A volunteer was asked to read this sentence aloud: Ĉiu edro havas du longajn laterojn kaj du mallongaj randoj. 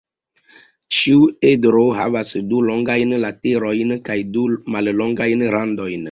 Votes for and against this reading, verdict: 1, 2, rejected